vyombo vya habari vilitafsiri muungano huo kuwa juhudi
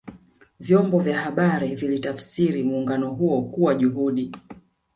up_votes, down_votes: 2, 1